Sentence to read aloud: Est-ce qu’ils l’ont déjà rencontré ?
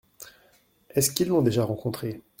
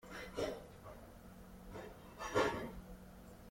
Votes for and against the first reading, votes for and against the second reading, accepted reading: 2, 0, 0, 2, first